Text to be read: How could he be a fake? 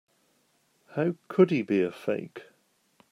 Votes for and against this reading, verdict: 3, 0, accepted